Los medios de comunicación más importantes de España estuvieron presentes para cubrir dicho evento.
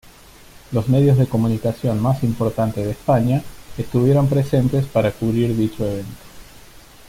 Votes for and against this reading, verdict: 2, 0, accepted